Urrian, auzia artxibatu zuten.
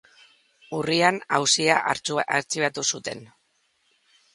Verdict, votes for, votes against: rejected, 0, 2